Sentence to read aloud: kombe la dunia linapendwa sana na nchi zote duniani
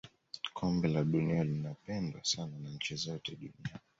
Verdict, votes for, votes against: accepted, 2, 1